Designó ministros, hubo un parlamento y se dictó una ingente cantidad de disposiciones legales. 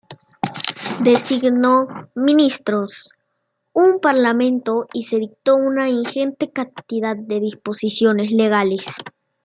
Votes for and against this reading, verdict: 2, 0, accepted